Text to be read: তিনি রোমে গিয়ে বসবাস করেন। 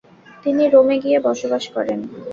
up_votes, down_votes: 2, 0